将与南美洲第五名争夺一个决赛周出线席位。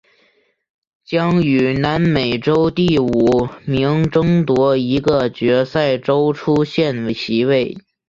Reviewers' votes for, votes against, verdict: 2, 0, accepted